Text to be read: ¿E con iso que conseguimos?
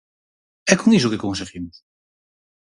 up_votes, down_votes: 4, 0